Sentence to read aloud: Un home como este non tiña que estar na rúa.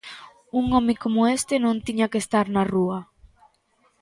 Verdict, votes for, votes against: accepted, 2, 0